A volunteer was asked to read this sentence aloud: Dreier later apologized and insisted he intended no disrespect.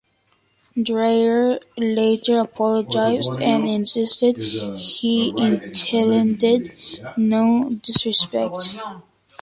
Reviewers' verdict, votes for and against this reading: accepted, 2, 0